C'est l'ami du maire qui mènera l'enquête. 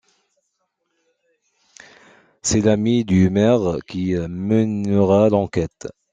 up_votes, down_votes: 0, 2